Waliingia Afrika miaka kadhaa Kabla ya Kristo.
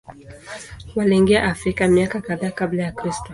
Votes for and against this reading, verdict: 2, 0, accepted